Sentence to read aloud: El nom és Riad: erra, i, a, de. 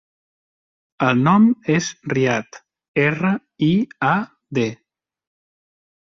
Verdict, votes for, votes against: accepted, 2, 0